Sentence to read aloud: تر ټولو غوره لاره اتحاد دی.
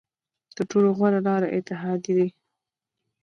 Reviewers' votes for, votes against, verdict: 0, 2, rejected